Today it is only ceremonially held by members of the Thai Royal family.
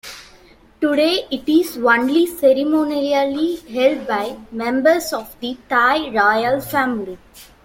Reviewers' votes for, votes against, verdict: 0, 2, rejected